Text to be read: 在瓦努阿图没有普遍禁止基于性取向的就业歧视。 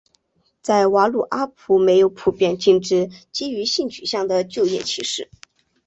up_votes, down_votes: 3, 0